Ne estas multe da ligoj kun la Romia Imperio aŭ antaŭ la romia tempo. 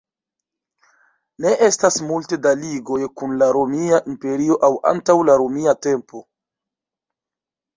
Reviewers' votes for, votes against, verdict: 2, 0, accepted